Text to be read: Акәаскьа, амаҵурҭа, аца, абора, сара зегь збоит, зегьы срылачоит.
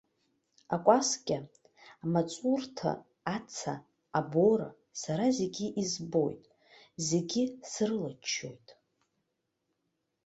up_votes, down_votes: 2, 1